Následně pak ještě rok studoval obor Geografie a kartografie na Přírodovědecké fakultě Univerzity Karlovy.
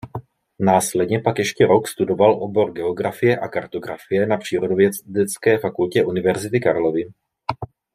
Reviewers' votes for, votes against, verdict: 0, 2, rejected